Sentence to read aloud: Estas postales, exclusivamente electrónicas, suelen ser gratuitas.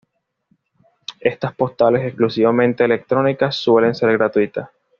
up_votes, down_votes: 2, 0